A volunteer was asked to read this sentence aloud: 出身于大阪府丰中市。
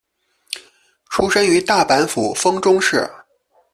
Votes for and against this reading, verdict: 2, 0, accepted